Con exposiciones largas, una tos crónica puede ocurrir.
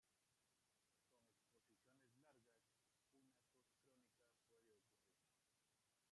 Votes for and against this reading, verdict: 0, 2, rejected